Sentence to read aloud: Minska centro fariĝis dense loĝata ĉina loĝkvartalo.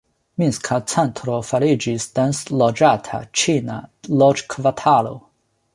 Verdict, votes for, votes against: rejected, 1, 2